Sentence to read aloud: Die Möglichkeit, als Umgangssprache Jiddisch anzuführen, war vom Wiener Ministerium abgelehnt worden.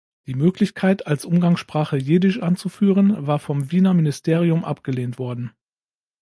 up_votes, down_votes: 2, 0